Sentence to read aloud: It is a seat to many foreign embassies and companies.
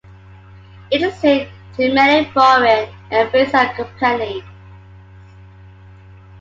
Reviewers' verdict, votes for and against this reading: rejected, 0, 2